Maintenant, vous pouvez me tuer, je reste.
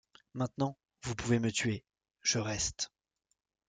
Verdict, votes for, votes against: accepted, 2, 0